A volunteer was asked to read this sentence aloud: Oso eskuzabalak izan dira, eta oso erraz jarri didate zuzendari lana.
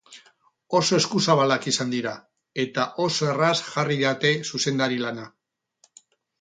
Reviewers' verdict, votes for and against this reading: rejected, 0, 2